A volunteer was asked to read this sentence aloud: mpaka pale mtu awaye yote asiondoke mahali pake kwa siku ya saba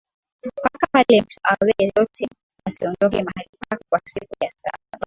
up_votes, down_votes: 0, 2